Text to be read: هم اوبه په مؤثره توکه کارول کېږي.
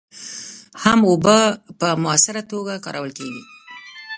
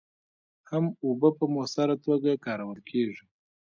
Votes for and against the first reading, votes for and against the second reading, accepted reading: 0, 2, 2, 1, second